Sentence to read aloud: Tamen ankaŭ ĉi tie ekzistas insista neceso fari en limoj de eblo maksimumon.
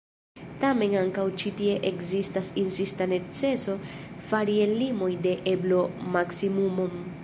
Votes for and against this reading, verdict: 1, 2, rejected